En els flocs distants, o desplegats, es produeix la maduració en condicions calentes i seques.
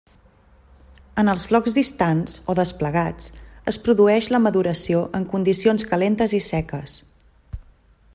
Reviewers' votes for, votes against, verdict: 3, 0, accepted